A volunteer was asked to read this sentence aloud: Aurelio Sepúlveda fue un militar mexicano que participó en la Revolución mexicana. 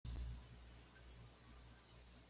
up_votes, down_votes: 1, 2